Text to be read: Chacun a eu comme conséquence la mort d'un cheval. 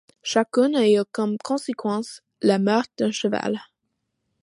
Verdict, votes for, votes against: accepted, 2, 0